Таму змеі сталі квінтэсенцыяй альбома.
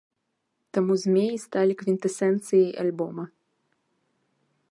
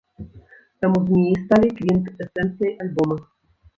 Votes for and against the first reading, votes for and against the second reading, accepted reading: 2, 1, 1, 2, first